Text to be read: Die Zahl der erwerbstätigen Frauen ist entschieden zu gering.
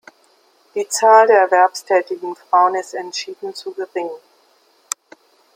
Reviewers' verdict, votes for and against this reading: accepted, 2, 0